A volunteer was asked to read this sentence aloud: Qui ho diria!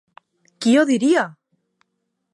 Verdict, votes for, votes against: accepted, 2, 0